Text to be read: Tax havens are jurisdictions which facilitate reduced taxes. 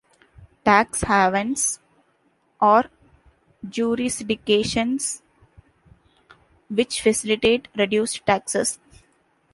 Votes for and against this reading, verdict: 1, 3, rejected